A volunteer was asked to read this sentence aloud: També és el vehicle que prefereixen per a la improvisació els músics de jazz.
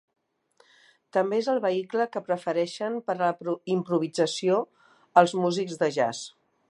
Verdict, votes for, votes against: accepted, 2, 1